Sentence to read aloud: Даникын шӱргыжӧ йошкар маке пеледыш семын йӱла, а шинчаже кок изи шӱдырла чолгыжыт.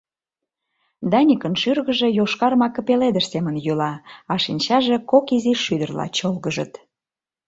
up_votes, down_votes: 3, 0